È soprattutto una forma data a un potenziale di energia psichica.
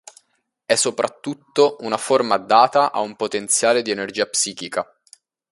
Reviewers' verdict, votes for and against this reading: accepted, 2, 0